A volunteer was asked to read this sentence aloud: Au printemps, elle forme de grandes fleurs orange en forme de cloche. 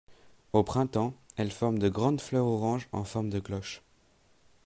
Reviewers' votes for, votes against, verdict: 2, 0, accepted